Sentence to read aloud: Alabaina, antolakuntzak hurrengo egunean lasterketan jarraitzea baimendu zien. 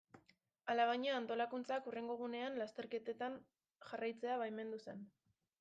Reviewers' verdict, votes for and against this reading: rejected, 0, 2